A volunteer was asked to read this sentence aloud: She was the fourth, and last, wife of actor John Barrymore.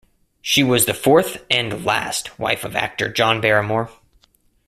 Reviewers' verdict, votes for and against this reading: accepted, 2, 0